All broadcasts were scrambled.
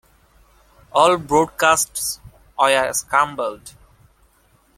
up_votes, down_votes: 0, 2